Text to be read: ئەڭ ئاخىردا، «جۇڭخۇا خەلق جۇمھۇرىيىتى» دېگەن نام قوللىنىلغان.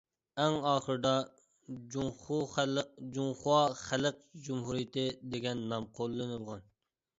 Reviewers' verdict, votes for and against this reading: rejected, 0, 2